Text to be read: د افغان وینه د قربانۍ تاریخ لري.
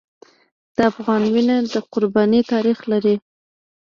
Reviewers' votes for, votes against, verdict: 0, 2, rejected